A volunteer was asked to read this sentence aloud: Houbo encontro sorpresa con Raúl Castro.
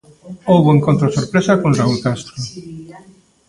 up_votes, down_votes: 1, 2